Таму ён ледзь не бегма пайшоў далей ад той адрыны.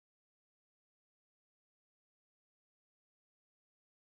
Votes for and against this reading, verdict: 0, 2, rejected